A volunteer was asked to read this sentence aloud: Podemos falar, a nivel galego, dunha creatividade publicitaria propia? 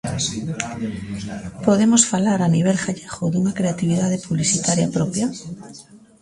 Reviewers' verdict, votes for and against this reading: rejected, 1, 2